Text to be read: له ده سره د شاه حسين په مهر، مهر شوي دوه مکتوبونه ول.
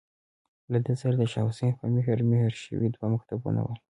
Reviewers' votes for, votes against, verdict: 2, 0, accepted